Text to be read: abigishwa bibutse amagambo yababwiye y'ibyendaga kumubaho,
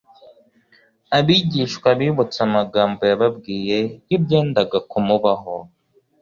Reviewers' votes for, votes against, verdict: 2, 0, accepted